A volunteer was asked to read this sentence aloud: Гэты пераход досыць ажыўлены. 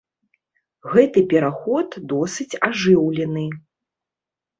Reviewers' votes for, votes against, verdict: 2, 0, accepted